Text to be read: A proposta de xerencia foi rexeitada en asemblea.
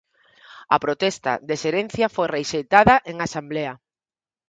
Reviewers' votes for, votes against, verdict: 0, 4, rejected